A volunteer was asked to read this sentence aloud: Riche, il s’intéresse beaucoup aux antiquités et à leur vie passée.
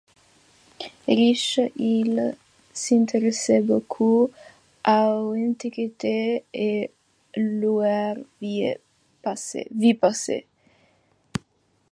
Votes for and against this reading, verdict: 2, 0, accepted